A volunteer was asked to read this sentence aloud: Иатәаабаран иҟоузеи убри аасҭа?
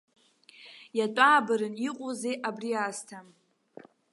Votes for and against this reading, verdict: 0, 2, rejected